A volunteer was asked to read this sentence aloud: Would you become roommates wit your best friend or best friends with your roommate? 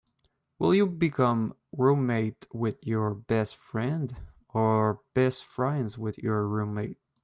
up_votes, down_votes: 0, 2